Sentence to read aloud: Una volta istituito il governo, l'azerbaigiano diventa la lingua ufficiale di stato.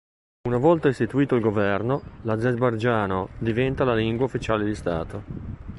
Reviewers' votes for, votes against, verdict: 1, 2, rejected